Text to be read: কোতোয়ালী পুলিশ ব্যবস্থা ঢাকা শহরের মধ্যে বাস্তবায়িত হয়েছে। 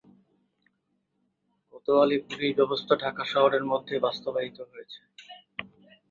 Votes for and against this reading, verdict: 2, 2, rejected